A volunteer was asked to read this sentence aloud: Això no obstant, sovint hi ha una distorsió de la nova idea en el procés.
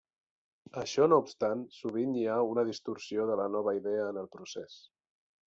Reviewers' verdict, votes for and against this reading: accepted, 3, 0